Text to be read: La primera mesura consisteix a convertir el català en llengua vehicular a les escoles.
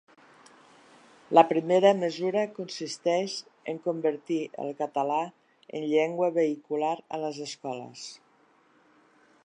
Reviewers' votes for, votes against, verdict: 1, 2, rejected